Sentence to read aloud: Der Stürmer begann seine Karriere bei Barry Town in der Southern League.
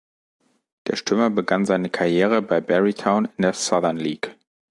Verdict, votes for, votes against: rejected, 0, 2